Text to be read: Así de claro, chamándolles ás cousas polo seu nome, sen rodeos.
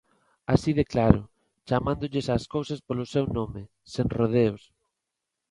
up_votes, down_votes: 2, 0